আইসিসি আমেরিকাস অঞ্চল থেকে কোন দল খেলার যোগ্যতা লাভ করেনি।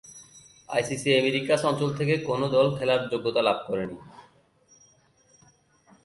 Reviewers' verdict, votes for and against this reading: rejected, 0, 4